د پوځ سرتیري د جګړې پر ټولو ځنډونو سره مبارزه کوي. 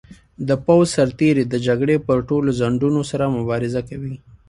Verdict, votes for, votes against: accepted, 2, 0